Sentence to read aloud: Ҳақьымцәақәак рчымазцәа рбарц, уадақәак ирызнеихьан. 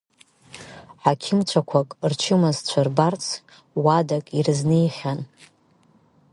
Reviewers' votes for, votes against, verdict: 0, 2, rejected